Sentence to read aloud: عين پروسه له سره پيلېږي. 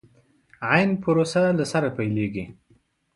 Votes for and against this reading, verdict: 2, 0, accepted